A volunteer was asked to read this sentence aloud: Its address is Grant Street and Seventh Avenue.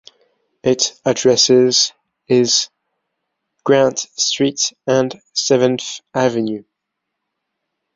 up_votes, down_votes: 0, 2